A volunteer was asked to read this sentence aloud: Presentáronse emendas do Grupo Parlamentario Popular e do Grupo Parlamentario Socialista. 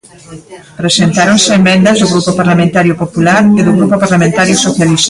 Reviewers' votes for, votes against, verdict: 0, 3, rejected